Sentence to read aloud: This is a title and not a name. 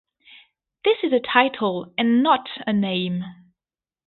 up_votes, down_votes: 2, 0